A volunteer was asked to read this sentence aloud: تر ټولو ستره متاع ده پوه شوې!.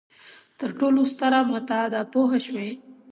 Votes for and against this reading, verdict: 2, 0, accepted